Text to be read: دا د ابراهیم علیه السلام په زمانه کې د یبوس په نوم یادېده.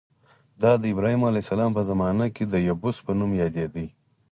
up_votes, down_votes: 4, 2